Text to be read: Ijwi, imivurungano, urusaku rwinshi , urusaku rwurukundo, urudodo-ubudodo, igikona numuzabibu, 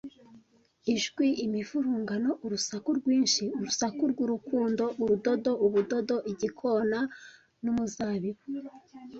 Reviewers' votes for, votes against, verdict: 2, 0, accepted